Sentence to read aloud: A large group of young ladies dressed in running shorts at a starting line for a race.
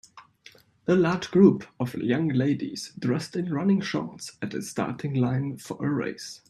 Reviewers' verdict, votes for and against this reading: accepted, 2, 0